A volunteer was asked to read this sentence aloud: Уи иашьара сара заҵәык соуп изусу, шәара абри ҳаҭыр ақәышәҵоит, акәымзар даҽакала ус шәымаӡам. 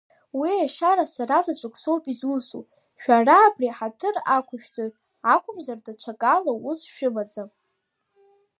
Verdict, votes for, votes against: rejected, 1, 3